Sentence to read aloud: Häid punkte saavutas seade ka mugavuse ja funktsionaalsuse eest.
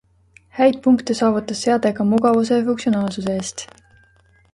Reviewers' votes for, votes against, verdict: 2, 0, accepted